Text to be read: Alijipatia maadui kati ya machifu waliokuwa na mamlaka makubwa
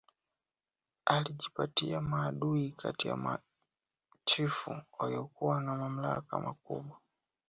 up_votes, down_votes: 1, 2